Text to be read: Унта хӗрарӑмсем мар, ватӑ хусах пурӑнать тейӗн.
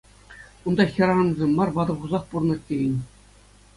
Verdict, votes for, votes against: accepted, 2, 0